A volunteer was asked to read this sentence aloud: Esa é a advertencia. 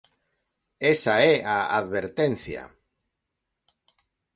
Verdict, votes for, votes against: accepted, 2, 0